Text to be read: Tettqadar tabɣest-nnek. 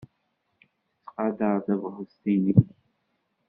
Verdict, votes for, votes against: rejected, 1, 2